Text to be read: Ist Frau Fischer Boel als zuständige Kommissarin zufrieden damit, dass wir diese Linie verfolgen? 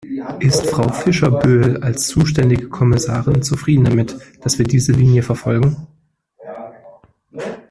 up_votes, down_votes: 1, 2